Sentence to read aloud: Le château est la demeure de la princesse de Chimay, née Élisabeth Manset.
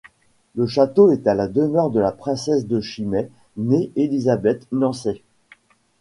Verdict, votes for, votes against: rejected, 0, 2